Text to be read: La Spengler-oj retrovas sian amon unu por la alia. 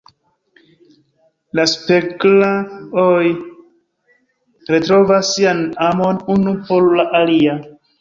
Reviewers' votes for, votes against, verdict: 1, 2, rejected